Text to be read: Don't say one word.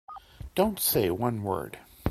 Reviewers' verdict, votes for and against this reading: accepted, 2, 1